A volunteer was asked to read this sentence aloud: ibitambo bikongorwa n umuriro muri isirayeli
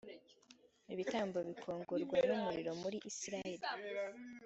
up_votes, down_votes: 3, 0